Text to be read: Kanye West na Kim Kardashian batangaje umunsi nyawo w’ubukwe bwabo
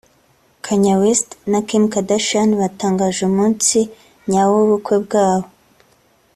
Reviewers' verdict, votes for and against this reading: accepted, 3, 1